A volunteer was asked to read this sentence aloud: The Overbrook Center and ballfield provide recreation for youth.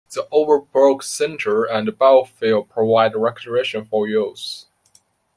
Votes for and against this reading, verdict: 0, 2, rejected